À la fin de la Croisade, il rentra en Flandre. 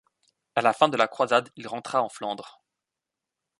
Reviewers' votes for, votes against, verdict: 2, 0, accepted